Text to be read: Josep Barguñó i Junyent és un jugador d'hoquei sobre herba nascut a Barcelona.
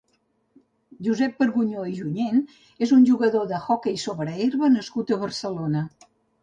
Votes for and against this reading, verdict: 0, 2, rejected